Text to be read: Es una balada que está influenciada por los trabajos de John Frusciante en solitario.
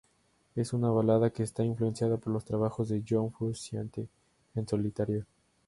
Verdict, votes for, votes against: accepted, 4, 0